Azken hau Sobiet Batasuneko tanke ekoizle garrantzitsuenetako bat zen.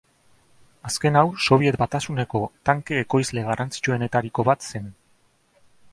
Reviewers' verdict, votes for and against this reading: rejected, 1, 2